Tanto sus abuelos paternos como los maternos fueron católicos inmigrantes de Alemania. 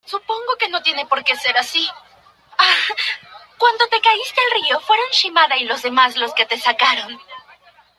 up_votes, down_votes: 0, 2